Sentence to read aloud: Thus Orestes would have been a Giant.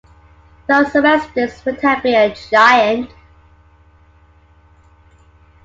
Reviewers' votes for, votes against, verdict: 2, 1, accepted